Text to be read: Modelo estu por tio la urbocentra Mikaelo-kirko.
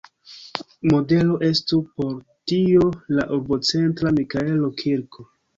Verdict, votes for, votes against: accepted, 2, 1